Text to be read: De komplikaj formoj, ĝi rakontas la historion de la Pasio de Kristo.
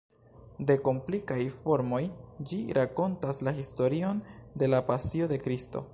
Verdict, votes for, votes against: accepted, 2, 0